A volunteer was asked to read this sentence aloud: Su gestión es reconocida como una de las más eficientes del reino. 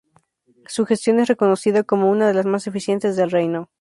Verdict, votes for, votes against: accepted, 2, 0